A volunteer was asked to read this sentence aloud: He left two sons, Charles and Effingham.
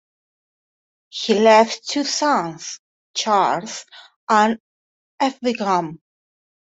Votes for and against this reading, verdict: 1, 2, rejected